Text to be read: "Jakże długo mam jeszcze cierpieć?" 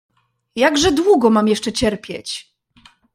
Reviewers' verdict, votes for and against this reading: accepted, 2, 1